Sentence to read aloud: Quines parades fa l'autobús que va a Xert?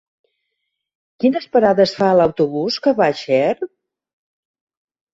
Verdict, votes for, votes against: accepted, 3, 0